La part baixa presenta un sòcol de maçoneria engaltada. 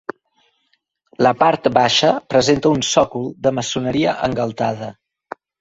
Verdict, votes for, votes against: accepted, 3, 0